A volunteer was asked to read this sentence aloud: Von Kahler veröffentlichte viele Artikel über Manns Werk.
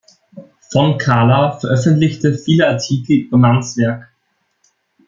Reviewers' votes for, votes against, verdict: 1, 2, rejected